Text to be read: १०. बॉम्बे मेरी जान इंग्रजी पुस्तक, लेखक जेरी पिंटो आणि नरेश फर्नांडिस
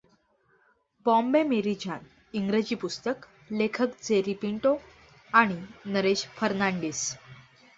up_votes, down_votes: 0, 2